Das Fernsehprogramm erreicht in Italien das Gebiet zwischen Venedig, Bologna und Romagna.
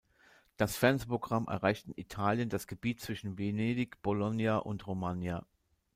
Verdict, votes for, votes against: rejected, 1, 2